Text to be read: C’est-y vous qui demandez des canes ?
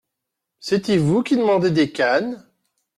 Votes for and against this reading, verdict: 2, 0, accepted